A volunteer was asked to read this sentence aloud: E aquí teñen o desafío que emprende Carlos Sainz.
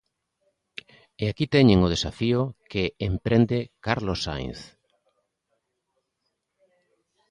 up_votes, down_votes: 2, 0